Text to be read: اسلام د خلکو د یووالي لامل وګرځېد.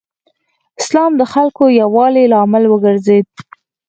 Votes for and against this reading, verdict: 4, 0, accepted